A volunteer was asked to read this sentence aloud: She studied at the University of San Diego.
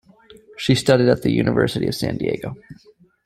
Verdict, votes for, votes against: accepted, 2, 0